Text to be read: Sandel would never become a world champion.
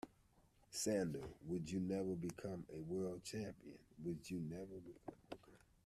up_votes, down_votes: 0, 2